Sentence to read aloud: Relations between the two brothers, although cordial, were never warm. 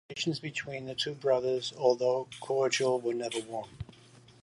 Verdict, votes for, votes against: accepted, 2, 0